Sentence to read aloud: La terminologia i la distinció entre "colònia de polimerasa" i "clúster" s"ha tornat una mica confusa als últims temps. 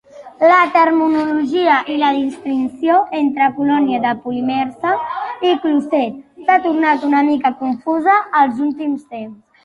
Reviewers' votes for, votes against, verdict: 0, 2, rejected